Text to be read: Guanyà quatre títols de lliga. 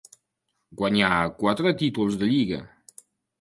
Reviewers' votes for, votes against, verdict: 4, 0, accepted